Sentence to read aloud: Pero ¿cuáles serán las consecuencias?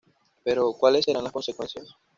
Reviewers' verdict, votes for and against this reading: accepted, 2, 0